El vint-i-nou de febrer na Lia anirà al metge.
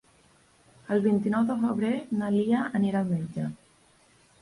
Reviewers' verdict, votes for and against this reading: accepted, 2, 0